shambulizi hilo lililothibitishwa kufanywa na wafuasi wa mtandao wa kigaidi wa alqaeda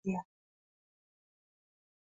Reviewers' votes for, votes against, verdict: 1, 4, rejected